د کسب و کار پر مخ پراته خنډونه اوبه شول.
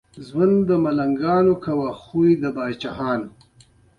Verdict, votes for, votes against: accepted, 2, 1